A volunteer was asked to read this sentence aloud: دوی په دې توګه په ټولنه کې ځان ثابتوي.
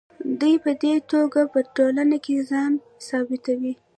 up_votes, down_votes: 0, 2